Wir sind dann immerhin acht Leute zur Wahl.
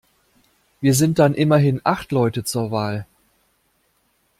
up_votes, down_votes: 2, 0